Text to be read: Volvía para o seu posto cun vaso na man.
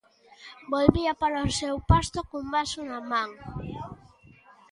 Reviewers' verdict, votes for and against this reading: rejected, 1, 2